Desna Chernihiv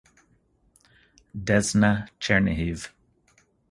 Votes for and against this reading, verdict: 4, 0, accepted